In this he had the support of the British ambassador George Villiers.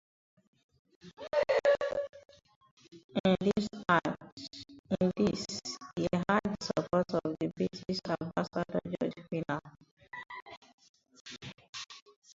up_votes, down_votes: 0, 15